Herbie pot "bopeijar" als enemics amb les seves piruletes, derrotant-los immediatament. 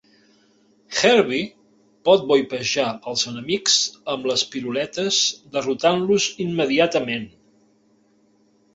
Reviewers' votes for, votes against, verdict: 0, 3, rejected